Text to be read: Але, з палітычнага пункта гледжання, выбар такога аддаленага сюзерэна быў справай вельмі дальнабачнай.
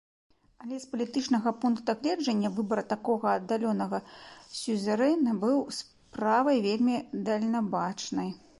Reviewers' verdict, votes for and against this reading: rejected, 2, 4